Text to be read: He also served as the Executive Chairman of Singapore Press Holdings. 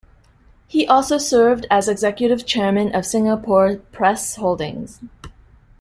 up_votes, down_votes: 0, 2